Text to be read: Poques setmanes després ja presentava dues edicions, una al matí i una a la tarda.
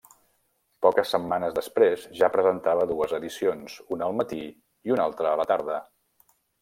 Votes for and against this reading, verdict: 0, 2, rejected